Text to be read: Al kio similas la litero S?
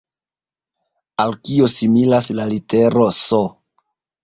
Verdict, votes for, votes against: accepted, 2, 0